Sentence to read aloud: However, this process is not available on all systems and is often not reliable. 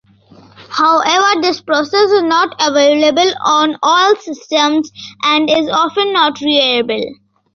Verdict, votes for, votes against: accepted, 2, 1